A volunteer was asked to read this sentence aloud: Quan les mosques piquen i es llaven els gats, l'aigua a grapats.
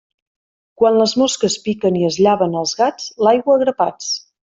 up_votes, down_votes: 2, 0